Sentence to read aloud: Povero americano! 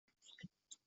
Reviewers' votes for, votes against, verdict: 0, 2, rejected